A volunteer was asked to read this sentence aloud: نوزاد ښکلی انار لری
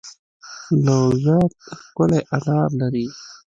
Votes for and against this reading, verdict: 1, 2, rejected